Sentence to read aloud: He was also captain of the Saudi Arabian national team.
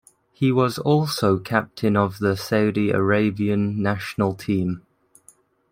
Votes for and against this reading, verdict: 2, 0, accepted